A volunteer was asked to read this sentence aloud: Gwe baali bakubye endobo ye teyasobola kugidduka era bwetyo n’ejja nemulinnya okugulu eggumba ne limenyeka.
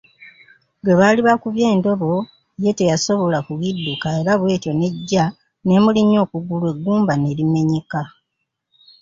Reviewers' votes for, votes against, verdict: 2, 0, accepted